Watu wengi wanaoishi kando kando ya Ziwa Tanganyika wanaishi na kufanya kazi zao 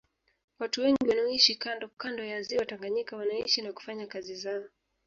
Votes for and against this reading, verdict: 2, 1, accepted